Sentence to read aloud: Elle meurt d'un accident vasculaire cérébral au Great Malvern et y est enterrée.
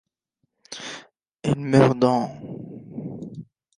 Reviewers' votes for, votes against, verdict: 0, 3, rejected